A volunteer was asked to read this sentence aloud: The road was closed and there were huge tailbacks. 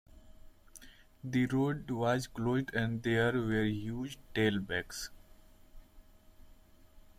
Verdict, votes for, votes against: rejected, 0, 2